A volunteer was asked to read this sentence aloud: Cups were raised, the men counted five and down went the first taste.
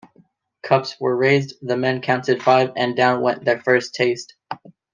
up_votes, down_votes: 2, 0